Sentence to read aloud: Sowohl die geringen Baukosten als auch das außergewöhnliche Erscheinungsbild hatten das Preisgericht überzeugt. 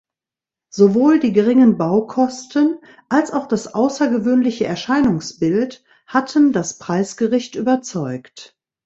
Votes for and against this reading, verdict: 2, 0, accepted